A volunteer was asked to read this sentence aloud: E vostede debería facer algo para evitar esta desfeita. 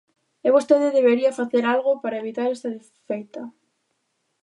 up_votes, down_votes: 1, 2